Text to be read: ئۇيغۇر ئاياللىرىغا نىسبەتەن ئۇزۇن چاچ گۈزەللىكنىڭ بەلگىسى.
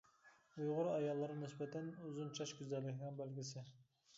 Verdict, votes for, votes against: accepted, 2, 0